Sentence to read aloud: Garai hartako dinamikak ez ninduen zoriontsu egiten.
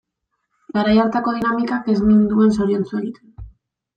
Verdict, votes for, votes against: rejected, 1, 2